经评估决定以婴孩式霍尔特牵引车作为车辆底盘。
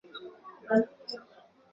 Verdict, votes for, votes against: rejected, 0, 4